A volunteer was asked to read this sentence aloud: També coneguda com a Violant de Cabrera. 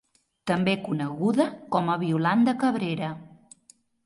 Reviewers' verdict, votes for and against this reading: accepted, 3, 0